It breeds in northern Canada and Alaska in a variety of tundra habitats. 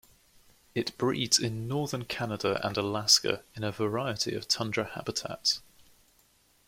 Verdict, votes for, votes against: accepted, 2, 0